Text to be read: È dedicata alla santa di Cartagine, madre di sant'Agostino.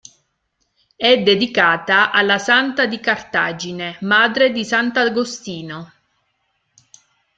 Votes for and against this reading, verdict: 3, 2, accepted